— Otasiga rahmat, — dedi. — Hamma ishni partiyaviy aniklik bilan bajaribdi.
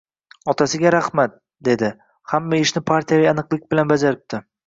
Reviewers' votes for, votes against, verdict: 2, 0, accepted